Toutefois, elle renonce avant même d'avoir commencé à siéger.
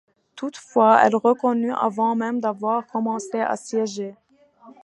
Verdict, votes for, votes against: rejected, 1, 2